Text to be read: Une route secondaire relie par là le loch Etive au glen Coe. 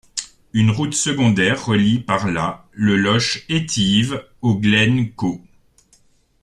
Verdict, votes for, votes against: rejected, 0, 2